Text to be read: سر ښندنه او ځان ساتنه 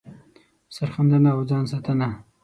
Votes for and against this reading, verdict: 6, 0, accepted